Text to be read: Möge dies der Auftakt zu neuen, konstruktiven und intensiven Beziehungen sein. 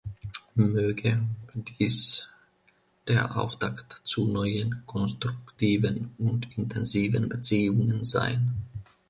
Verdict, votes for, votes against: rejected, 1, 2